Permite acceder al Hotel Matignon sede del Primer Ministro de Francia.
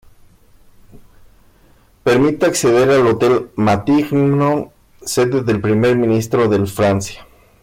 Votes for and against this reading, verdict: 1, 2, rejected